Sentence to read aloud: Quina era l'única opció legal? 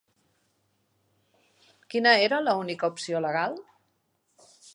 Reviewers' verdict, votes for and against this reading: accepted, 2, 0